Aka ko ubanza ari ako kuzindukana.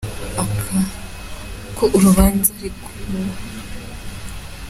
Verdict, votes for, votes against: rejected, 0, 2